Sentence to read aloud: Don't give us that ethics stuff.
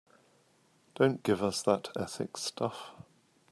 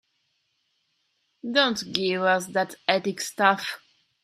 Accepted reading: first